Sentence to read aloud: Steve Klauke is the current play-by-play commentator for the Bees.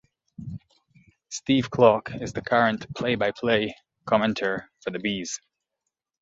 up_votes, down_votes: 0, 2